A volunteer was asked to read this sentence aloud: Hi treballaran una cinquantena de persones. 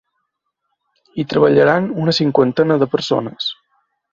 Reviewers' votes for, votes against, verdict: 4, 0, accepted